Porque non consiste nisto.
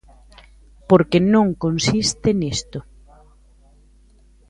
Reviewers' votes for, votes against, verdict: 2, 0, accepted